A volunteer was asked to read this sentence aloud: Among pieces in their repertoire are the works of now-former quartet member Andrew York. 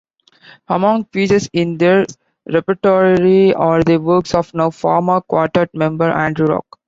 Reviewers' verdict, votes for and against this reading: rejected, 1, 3